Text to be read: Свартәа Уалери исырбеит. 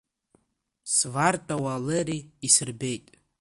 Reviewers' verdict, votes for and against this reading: accepted, 2, 1